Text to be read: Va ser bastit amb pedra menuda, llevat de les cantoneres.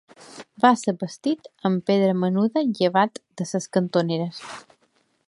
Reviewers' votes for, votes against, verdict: 0, 2, rejected